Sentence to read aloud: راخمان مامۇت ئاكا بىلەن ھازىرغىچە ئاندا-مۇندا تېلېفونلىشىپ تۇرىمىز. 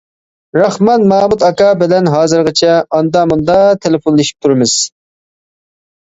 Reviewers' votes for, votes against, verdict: 2, 0, accepted